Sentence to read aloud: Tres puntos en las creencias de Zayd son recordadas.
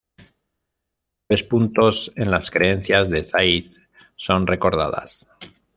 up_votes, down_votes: 1, 2